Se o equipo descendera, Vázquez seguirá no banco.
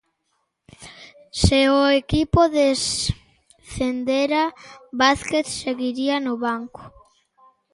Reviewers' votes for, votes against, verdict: 0, 2, rejected